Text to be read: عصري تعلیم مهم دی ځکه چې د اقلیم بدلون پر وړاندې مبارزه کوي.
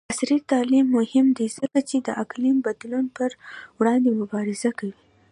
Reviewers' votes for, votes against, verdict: 2, 0, accepted